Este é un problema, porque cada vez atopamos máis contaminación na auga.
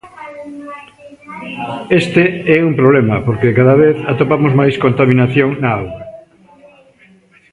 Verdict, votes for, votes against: rejected, 1, 2